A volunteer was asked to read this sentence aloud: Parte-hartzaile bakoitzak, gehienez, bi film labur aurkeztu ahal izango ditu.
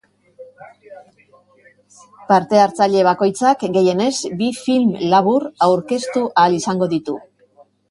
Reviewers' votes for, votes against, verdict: 2, 0, accepted